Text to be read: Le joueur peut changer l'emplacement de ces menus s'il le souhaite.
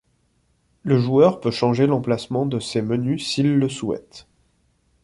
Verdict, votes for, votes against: accepted, 2, 0